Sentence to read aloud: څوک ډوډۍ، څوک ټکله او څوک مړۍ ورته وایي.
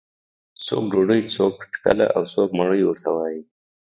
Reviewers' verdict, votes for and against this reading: accepted, 3, 0